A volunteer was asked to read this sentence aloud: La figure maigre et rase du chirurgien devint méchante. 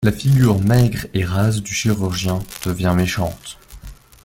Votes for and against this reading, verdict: 0, 2, rejected